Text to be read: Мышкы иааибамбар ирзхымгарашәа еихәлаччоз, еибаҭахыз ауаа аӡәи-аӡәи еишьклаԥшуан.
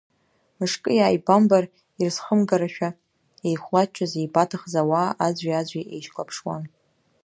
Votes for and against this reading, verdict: 1, 2, rejected